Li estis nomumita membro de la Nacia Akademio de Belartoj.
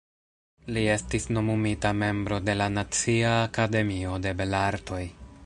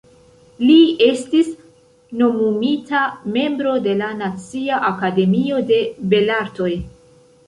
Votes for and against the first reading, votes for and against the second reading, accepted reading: 1, 2, 2, 0, second